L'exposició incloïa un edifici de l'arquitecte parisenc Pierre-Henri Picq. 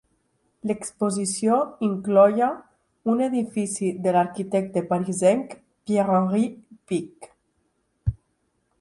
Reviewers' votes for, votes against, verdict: 1, 2, rejected